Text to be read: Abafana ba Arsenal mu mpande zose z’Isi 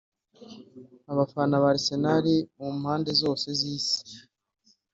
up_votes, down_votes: 2, 0